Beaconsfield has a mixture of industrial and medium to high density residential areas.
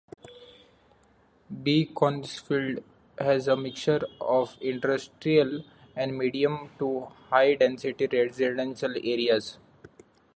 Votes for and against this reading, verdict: 2, 0, accepted